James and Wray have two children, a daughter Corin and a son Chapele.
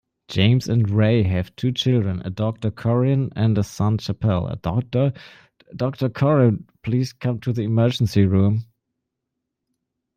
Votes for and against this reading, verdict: 0, 2, rejected